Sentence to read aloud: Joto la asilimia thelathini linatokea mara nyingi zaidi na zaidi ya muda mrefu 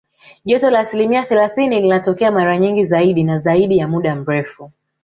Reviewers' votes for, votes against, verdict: 2, 1, accepted